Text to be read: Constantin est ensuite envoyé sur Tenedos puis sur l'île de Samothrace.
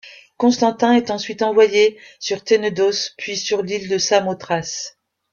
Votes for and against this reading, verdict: 2, 0, accepted